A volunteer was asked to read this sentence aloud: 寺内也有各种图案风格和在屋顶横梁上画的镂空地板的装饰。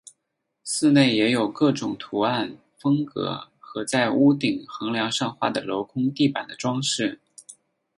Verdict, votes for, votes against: accepted, 4, 0